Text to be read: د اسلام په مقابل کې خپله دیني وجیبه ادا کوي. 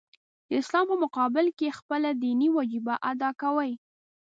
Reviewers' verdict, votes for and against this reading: accepted, 2, 0